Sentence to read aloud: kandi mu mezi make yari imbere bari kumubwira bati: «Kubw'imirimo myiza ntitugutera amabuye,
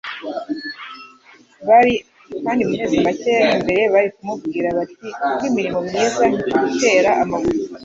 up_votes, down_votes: 1, 2